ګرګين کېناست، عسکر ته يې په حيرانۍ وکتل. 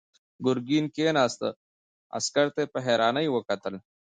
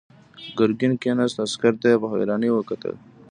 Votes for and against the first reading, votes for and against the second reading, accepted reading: 0, 2, 2, 1, second